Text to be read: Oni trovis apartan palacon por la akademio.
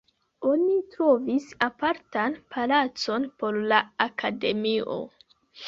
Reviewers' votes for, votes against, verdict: 1, 2, rejected